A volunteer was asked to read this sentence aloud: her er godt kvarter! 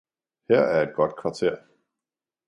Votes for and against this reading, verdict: 2, 1, accepted